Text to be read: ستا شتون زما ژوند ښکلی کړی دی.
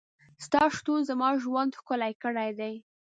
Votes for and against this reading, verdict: 2, 0, accepted